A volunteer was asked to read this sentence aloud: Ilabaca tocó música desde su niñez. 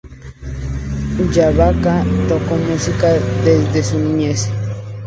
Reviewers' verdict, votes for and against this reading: accepted, 4, 0